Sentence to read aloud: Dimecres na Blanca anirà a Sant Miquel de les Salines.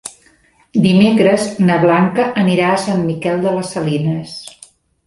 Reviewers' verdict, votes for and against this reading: rejected, 1, 2